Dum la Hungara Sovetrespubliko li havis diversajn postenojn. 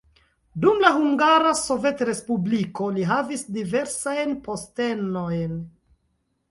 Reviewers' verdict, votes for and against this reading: accepted, 2, 0